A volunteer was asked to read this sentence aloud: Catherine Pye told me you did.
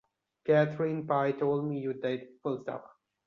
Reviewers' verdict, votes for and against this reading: rejected, 0, 2